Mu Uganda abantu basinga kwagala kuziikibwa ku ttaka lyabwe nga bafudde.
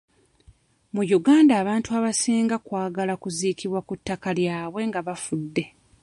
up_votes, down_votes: 1, 2